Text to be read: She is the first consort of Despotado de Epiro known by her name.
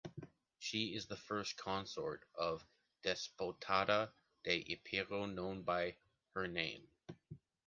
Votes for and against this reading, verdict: 2, 0, accepted